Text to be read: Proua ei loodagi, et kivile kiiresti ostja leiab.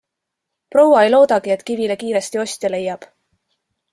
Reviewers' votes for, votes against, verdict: 2, 0, accepted